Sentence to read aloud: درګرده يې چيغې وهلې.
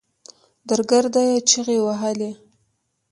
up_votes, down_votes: 1, 2